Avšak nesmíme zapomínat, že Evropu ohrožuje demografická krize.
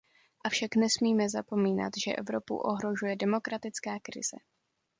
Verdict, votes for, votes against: rejected, 0, 2